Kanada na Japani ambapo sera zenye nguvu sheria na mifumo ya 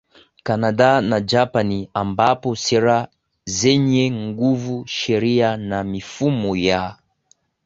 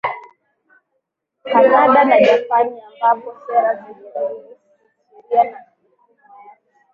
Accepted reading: second